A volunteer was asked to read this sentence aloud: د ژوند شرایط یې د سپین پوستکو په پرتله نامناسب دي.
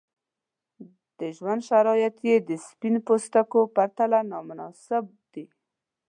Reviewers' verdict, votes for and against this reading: rejected, 0, 2